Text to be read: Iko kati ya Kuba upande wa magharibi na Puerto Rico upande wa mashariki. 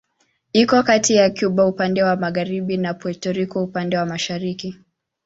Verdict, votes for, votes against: accepted, 2, 0